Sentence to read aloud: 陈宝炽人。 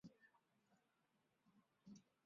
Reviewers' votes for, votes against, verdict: 0, 2, rejected